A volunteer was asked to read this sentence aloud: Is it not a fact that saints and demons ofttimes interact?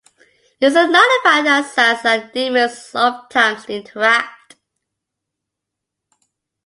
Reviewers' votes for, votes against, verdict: 2, 0, accepted